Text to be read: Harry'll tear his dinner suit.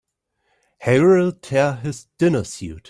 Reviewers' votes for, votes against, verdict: 2, 1, accepted